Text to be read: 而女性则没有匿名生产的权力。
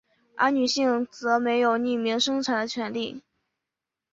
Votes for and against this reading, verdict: 2, 0, accepted